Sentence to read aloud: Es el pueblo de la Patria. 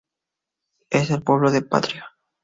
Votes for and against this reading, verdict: 2, 2, rejected